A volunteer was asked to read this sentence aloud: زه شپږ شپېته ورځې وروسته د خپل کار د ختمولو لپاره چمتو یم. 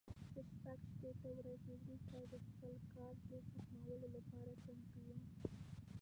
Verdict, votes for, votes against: rejected, 1, 2